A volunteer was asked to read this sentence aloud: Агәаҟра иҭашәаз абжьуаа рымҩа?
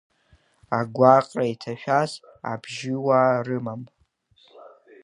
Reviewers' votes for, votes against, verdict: 0, 2, rejected